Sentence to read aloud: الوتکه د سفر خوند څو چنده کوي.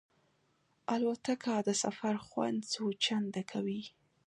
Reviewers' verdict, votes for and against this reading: accepted, 2, 0